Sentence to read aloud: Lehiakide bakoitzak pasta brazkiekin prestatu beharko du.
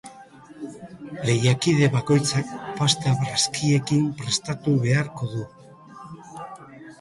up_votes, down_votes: 0, 2